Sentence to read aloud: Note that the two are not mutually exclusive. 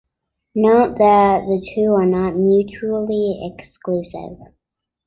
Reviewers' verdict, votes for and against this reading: accepted, 2, 0